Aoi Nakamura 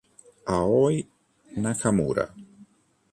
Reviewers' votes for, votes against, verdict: 2, 0, accepted